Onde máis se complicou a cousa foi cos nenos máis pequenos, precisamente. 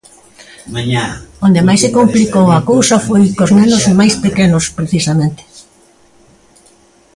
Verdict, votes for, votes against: rejected, 0, 2